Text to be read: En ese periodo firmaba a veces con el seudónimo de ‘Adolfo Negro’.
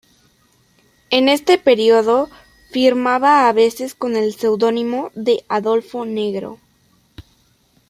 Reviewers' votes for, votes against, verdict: 1, 2, rejected